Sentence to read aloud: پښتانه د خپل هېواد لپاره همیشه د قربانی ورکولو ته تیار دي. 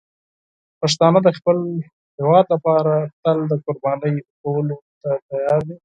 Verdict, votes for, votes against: accepted, 4, 0